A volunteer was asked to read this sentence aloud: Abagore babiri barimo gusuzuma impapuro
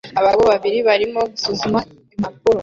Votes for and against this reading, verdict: 0, 2, rejected